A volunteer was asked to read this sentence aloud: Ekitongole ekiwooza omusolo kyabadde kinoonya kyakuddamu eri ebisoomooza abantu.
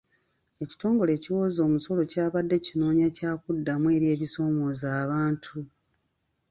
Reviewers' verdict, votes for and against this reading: accepted, 2, 0